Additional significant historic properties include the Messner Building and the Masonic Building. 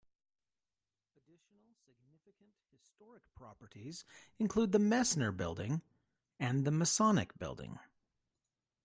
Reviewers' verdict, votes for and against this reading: rejected, 0, 2